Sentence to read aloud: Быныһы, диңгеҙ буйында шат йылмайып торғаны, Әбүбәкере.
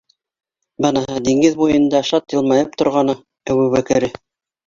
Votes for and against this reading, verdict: 1, 2, rejected